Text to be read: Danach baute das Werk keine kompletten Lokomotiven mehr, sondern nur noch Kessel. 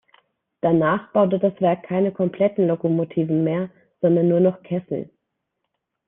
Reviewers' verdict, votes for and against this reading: accepted, 2, 1